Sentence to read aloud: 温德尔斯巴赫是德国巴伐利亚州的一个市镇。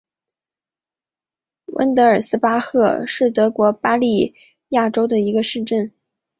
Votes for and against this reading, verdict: 0, 2, rejected